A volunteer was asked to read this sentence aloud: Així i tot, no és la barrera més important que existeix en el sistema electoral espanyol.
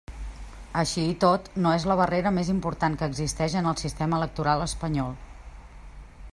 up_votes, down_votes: 3, 0